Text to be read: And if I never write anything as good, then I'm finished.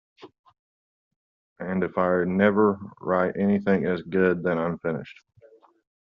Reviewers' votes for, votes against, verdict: 2, 0, accepted